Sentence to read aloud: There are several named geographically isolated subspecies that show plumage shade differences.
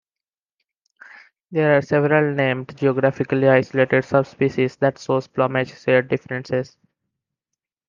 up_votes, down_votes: 0, 2